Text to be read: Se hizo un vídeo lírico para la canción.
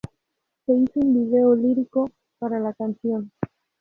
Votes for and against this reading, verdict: 0, 2, rejected